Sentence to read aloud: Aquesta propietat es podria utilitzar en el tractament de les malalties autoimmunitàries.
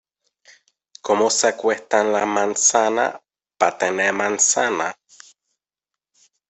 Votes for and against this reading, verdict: 0, 2, rejected